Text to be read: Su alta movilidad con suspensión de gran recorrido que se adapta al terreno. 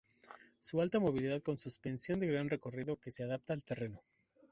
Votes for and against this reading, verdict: 2, 0, accepted